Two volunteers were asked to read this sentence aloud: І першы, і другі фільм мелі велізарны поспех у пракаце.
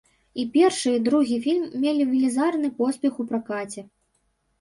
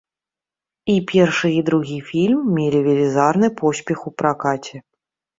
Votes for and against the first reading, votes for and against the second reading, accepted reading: 1, 2, 2, 0, second